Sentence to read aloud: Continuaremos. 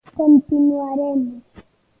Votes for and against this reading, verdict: 2, 1, accepted